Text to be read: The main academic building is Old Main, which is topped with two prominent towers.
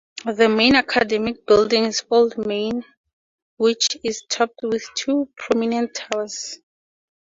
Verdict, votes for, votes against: accepted, 4, 0